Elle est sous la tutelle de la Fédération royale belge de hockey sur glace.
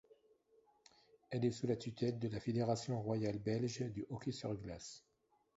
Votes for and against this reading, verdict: 1, 2, rejected